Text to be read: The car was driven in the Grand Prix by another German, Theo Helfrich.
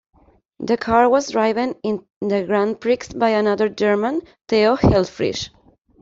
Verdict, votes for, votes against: rejected, 1, 2